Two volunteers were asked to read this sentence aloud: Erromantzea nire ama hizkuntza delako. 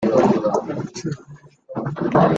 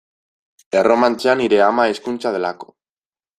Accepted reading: second